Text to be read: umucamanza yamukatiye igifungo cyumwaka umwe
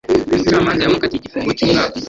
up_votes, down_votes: 1, 2